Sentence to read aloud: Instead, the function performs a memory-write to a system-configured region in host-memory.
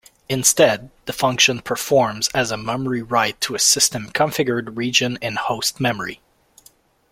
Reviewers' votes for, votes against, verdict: 0, 2, rejected